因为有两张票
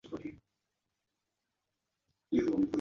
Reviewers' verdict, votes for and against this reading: rejected, 1, 2